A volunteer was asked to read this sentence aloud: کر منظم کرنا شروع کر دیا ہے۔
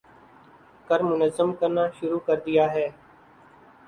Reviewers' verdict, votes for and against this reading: accepted, 14, 0